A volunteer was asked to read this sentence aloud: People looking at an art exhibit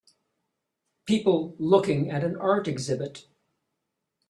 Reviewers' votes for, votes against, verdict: 2, 0, accepted